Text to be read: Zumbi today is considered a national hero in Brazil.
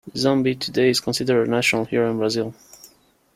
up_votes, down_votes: 2, 1